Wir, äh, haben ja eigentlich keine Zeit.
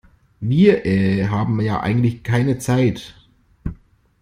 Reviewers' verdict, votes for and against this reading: accepted, 2, 0